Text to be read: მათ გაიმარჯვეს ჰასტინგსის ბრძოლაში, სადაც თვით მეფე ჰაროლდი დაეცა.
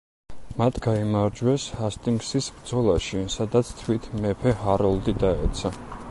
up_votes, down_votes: 2, 0